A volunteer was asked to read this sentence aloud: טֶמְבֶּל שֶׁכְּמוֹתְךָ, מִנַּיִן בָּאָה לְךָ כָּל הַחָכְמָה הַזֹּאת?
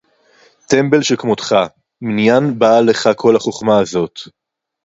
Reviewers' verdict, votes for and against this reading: accepted, 2, 0